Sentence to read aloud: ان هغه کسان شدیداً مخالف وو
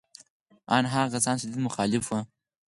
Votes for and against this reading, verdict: 2, 4, rejected